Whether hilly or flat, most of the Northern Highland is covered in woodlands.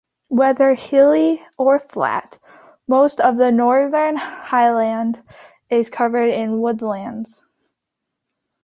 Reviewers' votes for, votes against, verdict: 2, 0, accepted